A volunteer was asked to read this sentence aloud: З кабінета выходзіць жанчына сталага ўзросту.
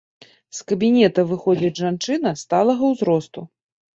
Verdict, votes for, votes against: accepted, 2, 0